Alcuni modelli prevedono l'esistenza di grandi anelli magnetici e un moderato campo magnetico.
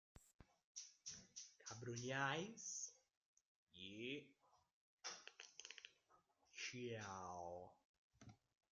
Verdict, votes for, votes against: rejected, 0, 2